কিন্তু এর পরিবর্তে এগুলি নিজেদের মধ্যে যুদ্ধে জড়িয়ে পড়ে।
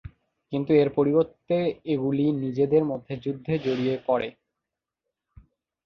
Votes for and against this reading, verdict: 2, 1, accepted